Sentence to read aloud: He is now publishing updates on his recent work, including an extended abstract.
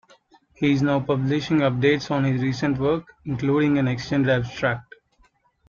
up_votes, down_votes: 0, 2